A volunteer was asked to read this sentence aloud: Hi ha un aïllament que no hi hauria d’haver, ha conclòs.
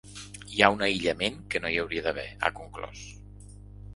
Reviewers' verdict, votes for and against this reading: accepted, 2, 0